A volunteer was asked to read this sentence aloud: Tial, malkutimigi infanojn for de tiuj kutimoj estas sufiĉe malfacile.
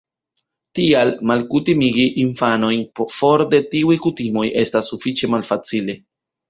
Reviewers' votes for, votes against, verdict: 1, 2, rejected